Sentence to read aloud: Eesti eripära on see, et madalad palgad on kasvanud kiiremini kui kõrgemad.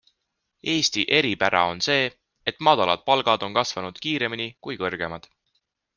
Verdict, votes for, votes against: accepted, 2, 0